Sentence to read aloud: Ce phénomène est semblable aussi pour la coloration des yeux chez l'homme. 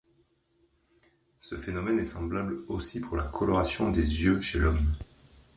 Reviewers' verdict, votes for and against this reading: accepted, 2, 1